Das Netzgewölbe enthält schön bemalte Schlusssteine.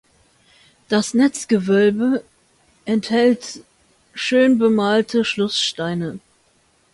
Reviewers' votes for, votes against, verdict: 2, 0, accepted